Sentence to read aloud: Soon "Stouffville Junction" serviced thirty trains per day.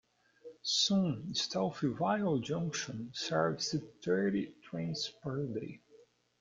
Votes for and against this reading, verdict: 1, 2, rejected